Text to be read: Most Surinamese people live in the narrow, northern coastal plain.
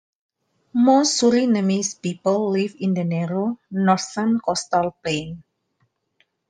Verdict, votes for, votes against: accepted, 2, 1